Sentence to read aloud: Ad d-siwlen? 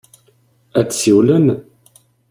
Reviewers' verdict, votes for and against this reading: accepted, 2, 0